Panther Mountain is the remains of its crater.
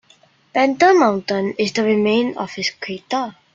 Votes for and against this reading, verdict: 1, 2, rejected